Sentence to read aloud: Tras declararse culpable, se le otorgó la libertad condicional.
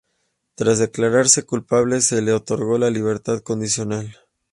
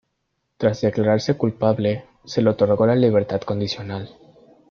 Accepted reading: first